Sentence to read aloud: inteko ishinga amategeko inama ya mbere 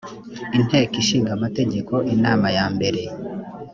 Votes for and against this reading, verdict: 2, 0, accepted